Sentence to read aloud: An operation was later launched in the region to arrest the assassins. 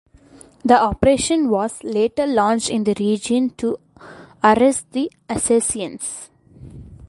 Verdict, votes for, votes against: rejected, 0, 2